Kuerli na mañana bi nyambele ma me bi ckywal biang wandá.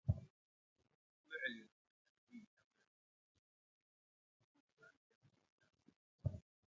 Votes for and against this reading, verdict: 0, 2, rejected